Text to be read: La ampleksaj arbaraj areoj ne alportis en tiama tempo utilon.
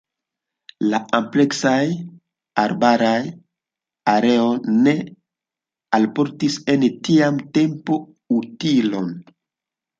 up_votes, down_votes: 1, 2